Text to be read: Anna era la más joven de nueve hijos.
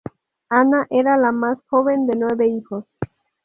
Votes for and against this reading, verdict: 2, 0, accepted